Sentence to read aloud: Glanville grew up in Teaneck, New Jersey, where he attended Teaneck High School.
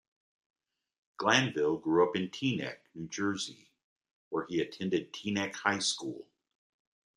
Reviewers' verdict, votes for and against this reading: accepted, 2, 1